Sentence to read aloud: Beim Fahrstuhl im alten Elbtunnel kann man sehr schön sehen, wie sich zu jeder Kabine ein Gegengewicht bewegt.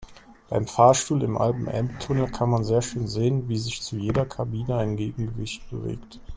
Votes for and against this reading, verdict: 1, 2, rejected